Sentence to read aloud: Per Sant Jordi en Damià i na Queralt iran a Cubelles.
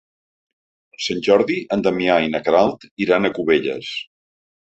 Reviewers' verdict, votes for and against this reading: rejected, 1, 2